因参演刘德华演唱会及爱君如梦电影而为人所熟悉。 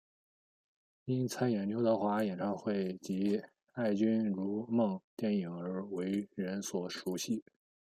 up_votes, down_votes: 1, 2